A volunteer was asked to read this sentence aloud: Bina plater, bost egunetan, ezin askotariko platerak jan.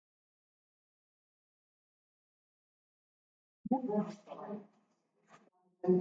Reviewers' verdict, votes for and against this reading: rejected, 0, 2